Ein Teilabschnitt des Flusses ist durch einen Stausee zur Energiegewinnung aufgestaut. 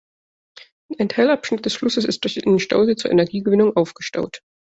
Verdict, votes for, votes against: accepted, 2, 0